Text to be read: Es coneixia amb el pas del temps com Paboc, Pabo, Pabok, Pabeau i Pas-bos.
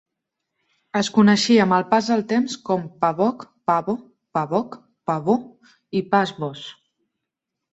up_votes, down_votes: 2, 0